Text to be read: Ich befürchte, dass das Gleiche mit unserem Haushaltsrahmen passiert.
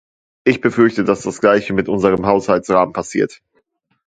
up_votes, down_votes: 2, 0